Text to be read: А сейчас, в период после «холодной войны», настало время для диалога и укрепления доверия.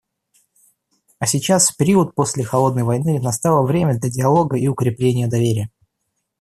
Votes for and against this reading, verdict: 2, 0, accepted